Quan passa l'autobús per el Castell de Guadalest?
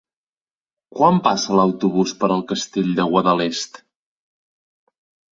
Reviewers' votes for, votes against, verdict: 3, 0, accepted